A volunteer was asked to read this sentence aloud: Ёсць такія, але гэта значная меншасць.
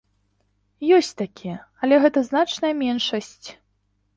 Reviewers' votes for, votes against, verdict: 2, 0, accepted